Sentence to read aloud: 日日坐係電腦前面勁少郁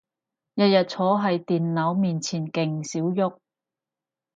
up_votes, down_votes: 0, 4